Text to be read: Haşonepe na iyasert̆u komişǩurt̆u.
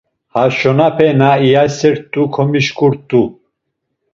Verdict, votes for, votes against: rejected, 1, 2